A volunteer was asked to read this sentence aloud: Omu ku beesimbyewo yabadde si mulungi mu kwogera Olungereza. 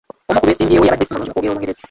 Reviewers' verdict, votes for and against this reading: rejected, 0, 2